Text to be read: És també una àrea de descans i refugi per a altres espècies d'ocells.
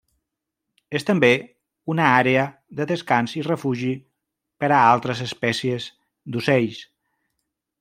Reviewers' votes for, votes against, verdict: 3, 0, accepted